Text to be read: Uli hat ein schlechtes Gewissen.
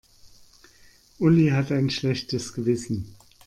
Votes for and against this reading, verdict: 2, 0, accepted